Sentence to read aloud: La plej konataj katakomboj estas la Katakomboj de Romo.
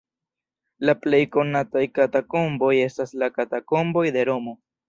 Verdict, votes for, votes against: rejected, 1, 2